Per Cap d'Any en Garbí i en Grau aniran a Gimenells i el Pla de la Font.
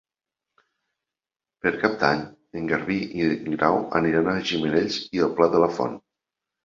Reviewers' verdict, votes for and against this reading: accepted, 2, 0